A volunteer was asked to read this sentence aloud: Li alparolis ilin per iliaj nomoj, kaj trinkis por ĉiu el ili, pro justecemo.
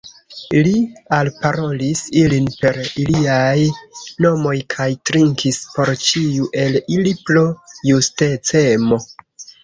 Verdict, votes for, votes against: accepted, 2, 1